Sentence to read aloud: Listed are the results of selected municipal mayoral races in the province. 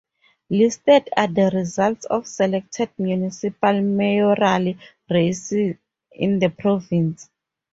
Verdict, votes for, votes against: accepted, 4, 2